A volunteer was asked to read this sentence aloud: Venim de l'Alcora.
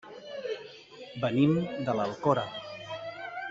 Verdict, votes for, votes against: accepted, 3, 0